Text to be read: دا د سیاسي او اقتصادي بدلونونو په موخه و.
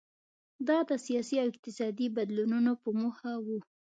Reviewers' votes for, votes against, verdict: 2, 0, accepted